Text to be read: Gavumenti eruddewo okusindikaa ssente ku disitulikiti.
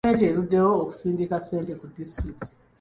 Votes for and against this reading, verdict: 0, 2, rejected